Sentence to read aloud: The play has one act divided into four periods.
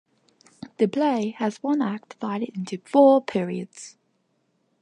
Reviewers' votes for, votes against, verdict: 2, 0, accepted